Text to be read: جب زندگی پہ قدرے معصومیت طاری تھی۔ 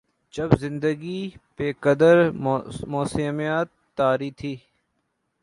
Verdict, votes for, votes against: rejected, 0, 2